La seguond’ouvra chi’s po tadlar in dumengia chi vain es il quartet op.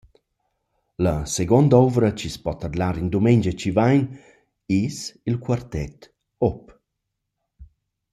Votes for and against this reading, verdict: 1, 2, rejected